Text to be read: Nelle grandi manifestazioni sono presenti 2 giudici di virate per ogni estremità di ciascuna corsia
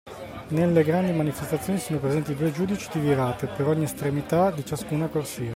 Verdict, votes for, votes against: rejected, 0, 2